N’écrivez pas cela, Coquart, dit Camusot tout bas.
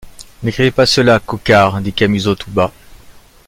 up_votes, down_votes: 2, 0